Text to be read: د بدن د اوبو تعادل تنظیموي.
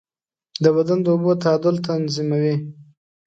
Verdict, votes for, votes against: accepted, 2, 0